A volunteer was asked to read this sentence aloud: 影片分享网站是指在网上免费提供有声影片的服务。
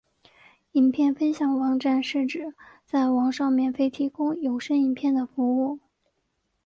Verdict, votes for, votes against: accepted, 2, 0